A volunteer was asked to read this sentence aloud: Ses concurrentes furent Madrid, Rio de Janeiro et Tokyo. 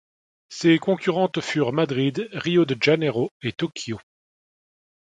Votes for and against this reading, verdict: 1, 2, rejected